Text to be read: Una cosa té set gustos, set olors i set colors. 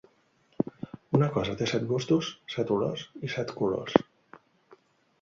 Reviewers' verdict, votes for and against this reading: accepted, 2, 0